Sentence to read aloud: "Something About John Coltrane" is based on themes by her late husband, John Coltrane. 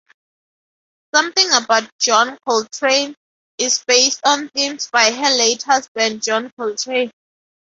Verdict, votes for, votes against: accepted, 2, 0